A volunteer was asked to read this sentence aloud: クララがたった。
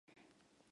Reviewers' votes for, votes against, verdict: 0, 2, rejected